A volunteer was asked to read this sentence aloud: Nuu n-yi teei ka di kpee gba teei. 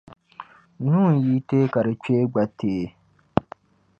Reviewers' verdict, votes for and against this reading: accepted, 2, 0